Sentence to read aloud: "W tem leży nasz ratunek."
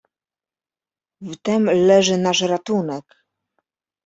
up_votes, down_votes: 2, 1